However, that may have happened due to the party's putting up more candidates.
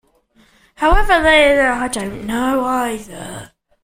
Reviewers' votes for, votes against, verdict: 0, 2, rejected